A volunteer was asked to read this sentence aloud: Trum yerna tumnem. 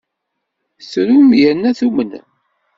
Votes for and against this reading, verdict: 2, 0, accepted